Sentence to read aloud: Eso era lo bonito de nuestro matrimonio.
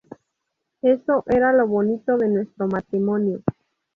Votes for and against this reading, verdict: 0, 2, rejected